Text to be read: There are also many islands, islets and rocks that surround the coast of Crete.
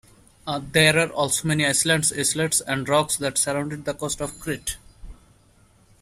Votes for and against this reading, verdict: 0, 2, rejected